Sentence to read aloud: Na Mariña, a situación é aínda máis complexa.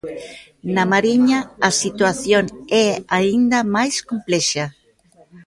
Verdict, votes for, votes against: rejected, 1, 2